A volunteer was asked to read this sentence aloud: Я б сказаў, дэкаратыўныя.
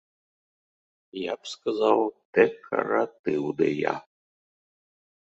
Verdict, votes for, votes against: accepted, 2, 0